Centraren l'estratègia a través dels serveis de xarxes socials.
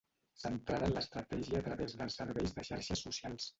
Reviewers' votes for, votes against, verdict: 1, 2, rejected